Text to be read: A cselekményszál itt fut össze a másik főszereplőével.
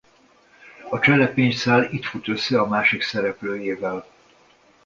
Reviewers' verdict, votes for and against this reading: rejected, 0, 2